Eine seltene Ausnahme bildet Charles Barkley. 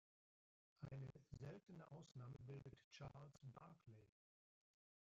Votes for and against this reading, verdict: 1, 2, rejected